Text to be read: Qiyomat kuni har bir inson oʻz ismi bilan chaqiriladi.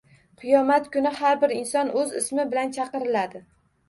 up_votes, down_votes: 1, 2